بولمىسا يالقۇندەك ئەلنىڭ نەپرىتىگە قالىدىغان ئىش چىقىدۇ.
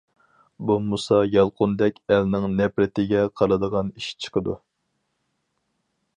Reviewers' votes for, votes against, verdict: 2, 2, rejected